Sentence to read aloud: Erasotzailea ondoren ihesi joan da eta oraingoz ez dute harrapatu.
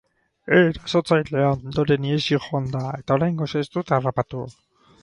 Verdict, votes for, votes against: rejected, 2, 4